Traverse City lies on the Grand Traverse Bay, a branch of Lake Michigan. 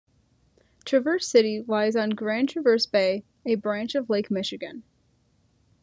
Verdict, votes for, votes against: rejected, 1, 2